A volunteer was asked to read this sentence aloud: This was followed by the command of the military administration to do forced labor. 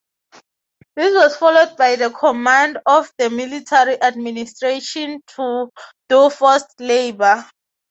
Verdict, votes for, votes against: accepted, 6, 0